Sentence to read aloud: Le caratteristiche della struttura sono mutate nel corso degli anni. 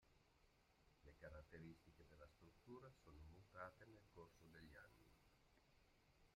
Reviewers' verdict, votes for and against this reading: rejected, 0, 2